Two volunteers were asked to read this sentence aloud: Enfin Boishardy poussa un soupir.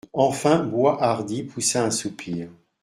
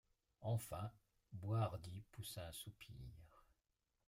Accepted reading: first